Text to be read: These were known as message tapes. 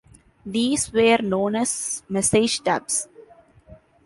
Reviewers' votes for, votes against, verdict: 0, 2, rejected